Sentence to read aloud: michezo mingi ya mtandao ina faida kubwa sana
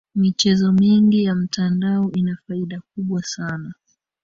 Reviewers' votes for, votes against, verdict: 0, 2, rejected